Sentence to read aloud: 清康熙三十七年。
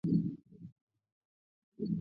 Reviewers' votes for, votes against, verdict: 1, 2, rejected